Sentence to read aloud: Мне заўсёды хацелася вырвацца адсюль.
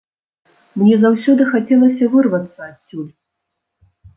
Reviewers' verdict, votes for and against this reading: accepted, 2, 0